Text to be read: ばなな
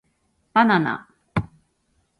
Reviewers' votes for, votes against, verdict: 0, 2, rejected